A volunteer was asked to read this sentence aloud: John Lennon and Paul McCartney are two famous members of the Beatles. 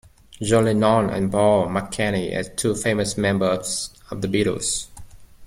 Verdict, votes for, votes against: rejected, 1, 2